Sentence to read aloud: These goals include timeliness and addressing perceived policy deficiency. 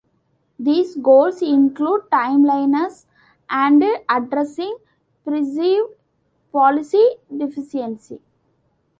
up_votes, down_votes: 1, 2